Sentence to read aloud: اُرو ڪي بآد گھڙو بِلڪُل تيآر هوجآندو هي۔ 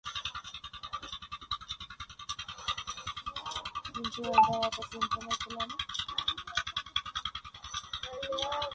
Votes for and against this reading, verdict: 0, 2, rejected